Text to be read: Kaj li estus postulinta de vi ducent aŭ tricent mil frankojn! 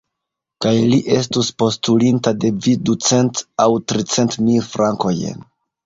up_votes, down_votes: 0, 2